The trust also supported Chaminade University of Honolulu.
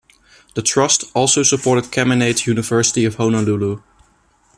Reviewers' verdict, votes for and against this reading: accepted, 2, 1